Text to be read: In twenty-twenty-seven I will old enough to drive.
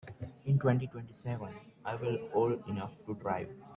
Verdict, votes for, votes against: rejected, 1, 2